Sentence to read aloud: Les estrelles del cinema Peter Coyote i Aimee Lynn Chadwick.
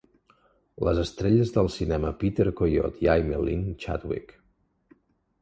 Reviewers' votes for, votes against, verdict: 0, 2, rejected